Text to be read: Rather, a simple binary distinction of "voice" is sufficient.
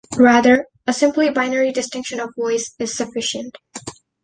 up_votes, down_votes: 1, 2